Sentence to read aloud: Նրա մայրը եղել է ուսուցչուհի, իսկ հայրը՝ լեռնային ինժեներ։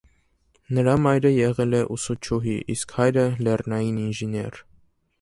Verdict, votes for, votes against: accepted, 2, 0